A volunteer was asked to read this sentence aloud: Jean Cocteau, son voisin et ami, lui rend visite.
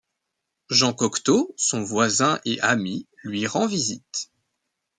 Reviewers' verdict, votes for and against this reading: rejected, 0, 2